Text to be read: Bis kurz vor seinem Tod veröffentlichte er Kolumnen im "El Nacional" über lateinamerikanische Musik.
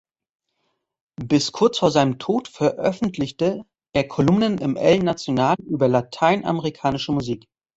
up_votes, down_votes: 0, 2